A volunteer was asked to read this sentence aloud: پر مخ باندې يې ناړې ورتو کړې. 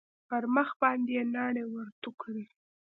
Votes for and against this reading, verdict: 2, 0, accepted